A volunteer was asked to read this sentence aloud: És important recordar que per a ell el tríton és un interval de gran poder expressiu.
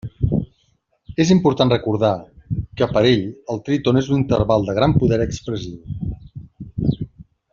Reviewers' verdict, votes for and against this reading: accepted, 2, 0